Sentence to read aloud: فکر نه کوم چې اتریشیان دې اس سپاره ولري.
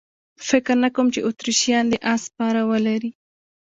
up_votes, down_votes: 2, 0